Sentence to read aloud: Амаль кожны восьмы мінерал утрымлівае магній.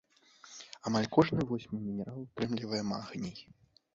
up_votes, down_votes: 1, 2